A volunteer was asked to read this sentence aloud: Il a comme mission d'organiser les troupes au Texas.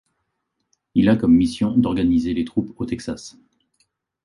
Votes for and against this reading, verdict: 2, 0, accepted